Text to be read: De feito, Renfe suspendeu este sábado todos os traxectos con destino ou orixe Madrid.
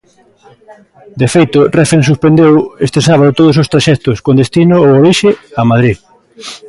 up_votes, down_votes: 0, 2